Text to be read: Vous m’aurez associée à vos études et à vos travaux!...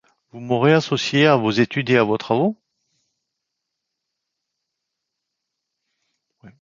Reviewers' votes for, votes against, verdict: 1, 2, rejected